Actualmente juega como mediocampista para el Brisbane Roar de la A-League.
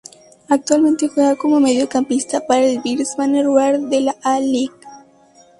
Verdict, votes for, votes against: accepted, 2, 0